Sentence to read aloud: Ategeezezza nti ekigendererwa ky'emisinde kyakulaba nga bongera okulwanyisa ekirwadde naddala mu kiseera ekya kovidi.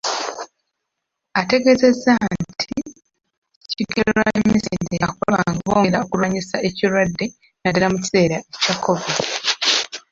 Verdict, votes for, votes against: rejected, 0, 2